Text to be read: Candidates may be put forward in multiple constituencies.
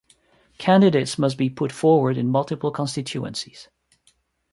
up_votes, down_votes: 0, 2